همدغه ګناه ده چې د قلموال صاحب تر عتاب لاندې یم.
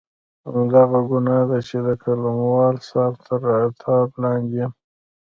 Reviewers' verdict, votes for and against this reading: accepted, 3, 0